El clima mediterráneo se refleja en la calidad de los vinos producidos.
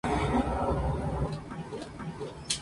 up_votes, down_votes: 0, 2